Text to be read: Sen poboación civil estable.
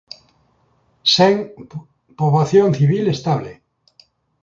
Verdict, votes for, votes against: rejected, 1, 2